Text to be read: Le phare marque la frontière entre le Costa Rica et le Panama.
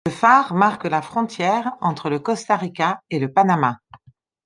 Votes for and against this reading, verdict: 1, 2, rejected